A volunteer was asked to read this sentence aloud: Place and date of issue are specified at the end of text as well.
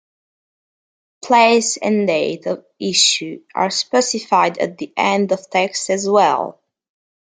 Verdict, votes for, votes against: rejected, 0, 2